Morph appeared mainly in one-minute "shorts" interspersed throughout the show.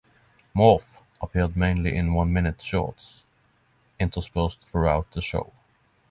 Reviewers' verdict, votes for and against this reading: accepted, 3, 0